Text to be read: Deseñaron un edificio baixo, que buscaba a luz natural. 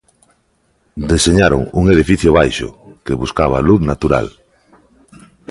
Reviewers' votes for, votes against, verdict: 2, 0, accepted